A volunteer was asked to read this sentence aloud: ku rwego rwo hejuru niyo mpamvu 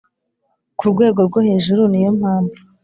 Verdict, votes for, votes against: accepted, 3, 0